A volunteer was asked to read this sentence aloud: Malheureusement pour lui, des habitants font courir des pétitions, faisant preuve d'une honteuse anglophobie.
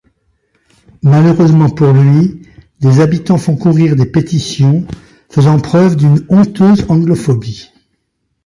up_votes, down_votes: 1, 2